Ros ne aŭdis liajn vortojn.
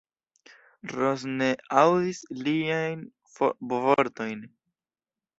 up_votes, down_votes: 0, 2